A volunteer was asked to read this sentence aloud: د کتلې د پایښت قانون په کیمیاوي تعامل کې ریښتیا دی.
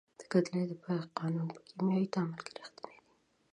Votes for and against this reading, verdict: 1, 4, rejected